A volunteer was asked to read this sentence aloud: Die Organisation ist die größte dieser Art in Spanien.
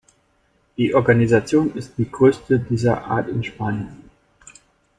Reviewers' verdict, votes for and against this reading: rejected, 1, 2